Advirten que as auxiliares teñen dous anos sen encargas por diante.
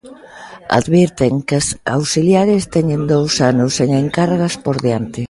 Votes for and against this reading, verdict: 2, 0, accepted